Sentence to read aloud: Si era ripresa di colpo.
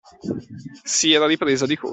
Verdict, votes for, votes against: accepted, 2, 1